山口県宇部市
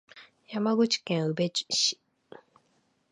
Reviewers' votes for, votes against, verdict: 1, 2, rejected